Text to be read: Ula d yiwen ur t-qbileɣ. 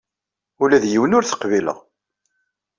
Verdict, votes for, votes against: accepted, 2, 0